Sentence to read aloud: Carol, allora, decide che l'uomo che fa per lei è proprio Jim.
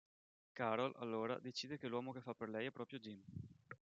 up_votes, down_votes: 2, 0